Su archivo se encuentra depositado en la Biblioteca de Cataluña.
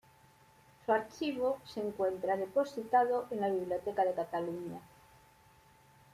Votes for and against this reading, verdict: 2, 0, accepted